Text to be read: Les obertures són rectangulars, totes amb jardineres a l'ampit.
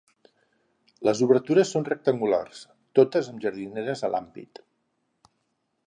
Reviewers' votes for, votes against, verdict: 0, 4, rejected